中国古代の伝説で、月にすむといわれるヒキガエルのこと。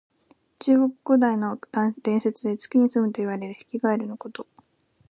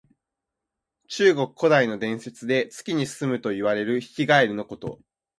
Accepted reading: second